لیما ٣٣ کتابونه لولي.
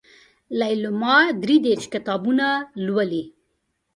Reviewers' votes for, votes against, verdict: 0, 2, rejected